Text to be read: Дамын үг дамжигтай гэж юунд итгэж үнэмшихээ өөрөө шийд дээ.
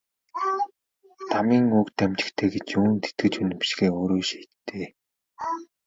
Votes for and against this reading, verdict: 2, 1, accepted